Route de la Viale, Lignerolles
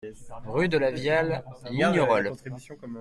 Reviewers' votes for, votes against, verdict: 0, 2, rejected